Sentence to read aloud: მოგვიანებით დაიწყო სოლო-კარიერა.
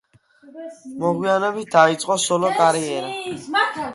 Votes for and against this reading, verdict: 0, 2, rejected